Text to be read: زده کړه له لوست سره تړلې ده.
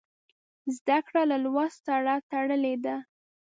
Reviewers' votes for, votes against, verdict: 2, 0, accepted